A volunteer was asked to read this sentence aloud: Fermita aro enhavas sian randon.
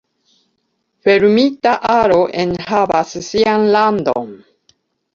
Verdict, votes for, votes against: rejected, 1, 2